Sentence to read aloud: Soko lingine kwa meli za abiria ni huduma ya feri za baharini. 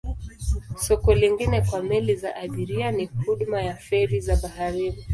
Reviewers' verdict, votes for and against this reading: accepted, 2, 0